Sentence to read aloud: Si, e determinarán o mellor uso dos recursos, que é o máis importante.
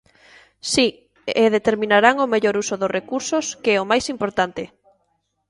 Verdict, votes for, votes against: accepted, 2, 0